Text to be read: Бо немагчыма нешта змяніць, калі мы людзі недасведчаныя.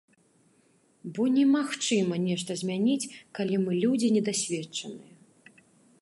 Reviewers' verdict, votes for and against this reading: rejected, 1, 2